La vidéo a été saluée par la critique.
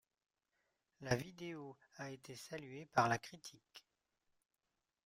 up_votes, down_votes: 2, 0